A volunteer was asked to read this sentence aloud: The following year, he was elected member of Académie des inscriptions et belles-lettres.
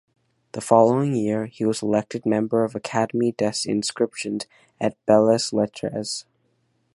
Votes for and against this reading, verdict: 1, 2, rejected